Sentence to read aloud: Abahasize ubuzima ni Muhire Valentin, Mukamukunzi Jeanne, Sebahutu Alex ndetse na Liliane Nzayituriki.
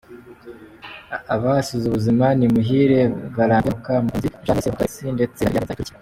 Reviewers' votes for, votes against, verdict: 0, 3, rejected